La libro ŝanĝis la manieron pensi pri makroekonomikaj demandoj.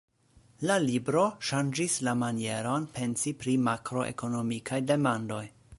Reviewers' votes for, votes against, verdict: 2, 1, accepted